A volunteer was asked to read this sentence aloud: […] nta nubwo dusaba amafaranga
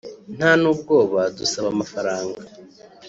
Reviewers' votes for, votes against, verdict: 1, 2, rejected